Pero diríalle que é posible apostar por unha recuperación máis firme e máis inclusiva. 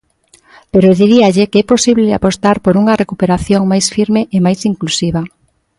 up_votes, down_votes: 2, 0